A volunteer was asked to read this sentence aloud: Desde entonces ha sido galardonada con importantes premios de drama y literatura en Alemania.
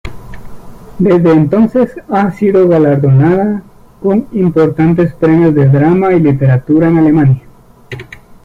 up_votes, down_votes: 1, 2